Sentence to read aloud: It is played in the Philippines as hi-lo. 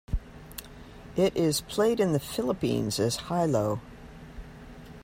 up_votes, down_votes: 2, 0